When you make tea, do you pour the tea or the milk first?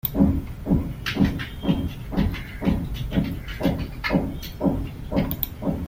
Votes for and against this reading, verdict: 0, 2, rejected